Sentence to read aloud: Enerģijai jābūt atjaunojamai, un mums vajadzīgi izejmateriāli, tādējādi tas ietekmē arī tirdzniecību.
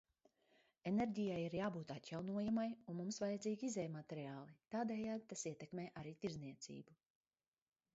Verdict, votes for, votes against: rejected, 0, 2